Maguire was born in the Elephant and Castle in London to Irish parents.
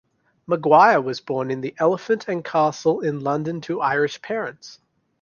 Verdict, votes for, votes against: accepted, 2, 0